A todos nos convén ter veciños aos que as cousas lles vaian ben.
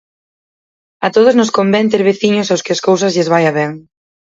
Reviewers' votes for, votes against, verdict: 0, 6, rejected